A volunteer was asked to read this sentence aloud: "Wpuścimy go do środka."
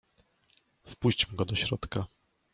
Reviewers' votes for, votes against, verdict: 1, 2, rejected